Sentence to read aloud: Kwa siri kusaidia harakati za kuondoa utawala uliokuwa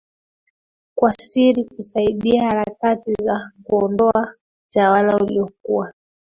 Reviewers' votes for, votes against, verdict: 2, 1, accepted